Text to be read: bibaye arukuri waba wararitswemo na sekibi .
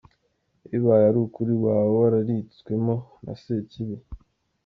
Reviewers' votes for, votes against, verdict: 1, 2, rejected